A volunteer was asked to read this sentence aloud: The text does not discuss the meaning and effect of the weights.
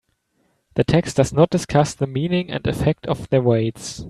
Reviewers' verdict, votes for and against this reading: accepted, 3, 0